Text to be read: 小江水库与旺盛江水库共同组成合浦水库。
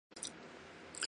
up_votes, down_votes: 1, 4